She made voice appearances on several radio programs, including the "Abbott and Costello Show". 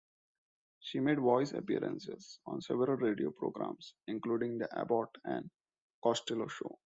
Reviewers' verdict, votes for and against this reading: accepted, 2, 0